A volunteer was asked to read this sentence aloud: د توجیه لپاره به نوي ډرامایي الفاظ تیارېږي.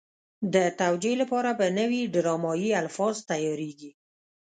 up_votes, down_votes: 1, 2